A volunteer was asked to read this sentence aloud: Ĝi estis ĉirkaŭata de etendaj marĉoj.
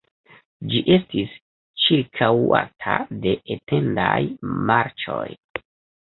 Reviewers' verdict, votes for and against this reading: rejected, 0, 2